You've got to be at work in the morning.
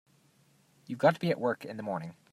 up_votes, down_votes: 2, 0